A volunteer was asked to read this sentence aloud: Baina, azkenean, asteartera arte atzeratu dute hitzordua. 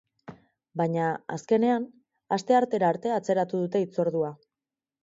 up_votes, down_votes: 4, 0